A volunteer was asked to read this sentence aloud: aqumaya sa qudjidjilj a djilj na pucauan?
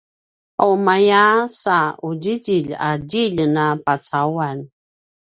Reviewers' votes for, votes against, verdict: 2, 0, accepted